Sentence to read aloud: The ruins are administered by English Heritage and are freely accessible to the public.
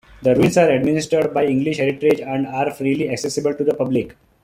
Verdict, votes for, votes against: accepted, 2, 0